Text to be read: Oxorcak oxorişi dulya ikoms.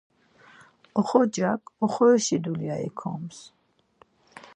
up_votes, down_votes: 4, 0